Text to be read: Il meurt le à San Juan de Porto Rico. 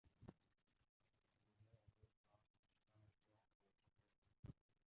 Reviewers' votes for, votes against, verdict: 0, 2, rejected